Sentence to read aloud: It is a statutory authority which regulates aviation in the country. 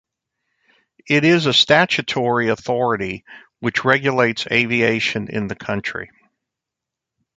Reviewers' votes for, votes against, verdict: 2, 0, accepted